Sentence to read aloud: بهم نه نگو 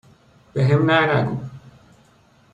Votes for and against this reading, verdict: 2, 0, accepted